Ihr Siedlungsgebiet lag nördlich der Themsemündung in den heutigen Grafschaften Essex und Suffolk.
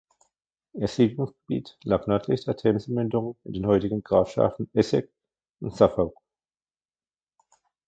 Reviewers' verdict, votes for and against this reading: rejected, 1, 2